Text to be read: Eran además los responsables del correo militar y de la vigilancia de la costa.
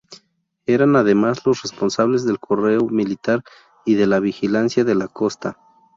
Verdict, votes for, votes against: accepted, 2, 0